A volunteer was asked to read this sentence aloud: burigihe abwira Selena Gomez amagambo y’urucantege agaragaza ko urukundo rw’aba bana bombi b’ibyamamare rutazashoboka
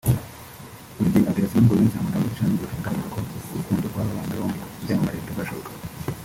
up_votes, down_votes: 0, 2